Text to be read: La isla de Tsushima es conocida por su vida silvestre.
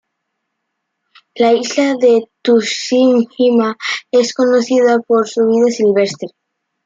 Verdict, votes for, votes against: rejected, 1, 2